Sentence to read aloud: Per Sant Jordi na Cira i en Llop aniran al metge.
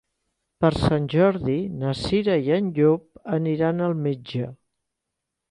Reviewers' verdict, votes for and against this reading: accepted, 4, 1